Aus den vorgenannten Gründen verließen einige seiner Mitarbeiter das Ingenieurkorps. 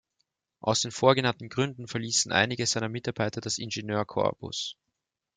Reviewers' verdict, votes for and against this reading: rejected, 0, 3